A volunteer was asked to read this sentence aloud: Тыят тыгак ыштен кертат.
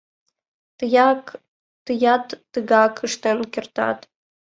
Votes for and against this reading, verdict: 0, 2, rejected